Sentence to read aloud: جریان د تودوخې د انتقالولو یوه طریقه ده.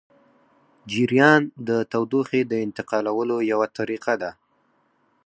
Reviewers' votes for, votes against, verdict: 0, 4, rejected